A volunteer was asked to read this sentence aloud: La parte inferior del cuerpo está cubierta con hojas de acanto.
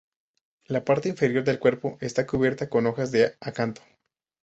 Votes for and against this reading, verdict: 4, 0, accepted